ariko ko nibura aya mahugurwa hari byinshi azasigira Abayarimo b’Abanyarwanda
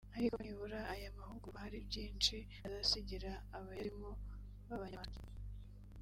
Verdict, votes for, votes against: rejected, 0, 2